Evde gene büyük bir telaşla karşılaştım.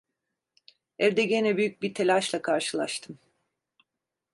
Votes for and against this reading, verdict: 2, 0, accepted